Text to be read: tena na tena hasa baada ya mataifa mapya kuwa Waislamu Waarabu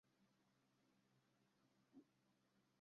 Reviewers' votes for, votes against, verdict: 0, 2, rejected